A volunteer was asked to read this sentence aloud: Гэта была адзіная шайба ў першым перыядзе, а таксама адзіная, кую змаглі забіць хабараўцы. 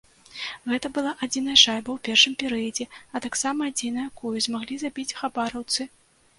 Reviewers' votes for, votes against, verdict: 2, 1, accepted